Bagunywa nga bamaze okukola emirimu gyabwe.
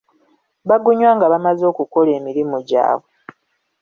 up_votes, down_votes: 2, 0